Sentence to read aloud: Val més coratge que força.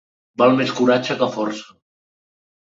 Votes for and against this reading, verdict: 2, 0, accepted